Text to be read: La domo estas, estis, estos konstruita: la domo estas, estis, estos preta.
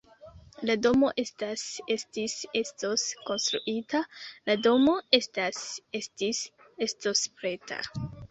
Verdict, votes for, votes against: rejected, 1, 2